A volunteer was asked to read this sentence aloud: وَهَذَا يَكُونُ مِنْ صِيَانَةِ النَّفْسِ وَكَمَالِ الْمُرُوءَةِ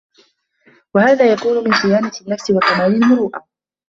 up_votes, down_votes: 2, 0